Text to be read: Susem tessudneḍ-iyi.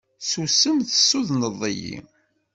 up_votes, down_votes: 2, 0